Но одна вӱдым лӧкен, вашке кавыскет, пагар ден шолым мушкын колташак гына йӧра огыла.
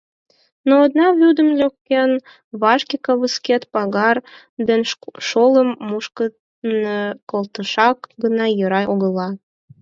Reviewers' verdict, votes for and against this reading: rejected, 0, 4